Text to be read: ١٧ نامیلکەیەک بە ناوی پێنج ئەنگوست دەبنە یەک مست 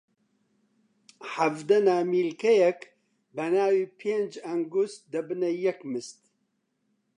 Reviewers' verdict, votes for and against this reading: rejected, 0, 2